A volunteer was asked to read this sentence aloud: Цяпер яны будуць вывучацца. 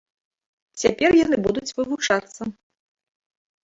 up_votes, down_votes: 3, 0